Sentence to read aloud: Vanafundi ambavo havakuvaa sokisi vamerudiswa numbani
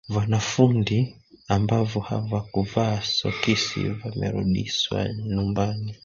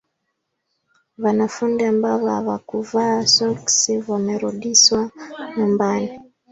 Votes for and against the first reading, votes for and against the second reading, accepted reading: 2, 3, 2, 0, second